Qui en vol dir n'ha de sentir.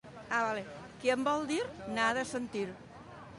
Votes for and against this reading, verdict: 0, 2, rejected